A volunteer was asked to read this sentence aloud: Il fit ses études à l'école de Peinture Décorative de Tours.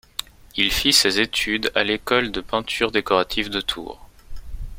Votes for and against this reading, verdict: 2, 0, accepted